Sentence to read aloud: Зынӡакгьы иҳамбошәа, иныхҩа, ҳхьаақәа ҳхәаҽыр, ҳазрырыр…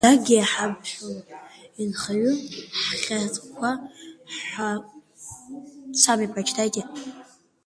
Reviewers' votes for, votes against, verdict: 0, 2, rejected